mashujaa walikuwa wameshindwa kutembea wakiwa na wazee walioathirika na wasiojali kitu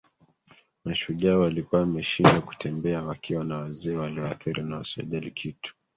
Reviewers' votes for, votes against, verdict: 0, 2, rejected